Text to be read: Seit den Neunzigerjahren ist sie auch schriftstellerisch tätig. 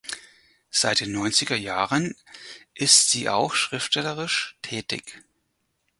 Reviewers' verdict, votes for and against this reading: accepted, 4, 2